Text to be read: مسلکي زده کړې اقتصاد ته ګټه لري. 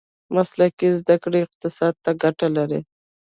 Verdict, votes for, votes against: rejected, 0, 2